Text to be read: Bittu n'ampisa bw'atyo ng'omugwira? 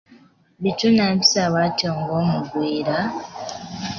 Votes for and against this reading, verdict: 0, 2, rejected